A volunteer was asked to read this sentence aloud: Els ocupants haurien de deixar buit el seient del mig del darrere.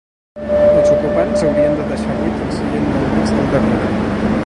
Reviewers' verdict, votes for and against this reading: rejected, 0, 4